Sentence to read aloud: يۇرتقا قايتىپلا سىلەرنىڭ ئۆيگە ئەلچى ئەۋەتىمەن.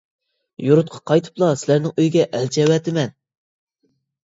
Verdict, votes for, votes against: accepted, 2, 0